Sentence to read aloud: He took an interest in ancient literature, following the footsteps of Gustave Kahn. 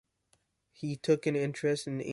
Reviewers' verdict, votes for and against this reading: rejected, 0, 2